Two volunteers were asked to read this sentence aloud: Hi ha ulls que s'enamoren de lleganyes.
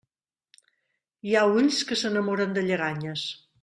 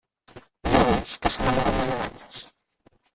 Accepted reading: first